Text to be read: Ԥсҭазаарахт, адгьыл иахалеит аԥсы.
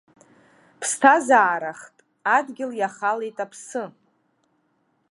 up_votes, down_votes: 2, 0